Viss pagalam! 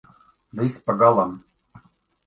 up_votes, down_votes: 2, 0